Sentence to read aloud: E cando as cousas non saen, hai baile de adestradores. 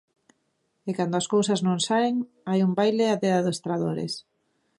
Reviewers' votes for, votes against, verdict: 0, 3, rejected